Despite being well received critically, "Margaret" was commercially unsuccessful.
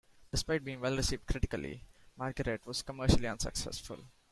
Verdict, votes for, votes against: accepted, 4, 3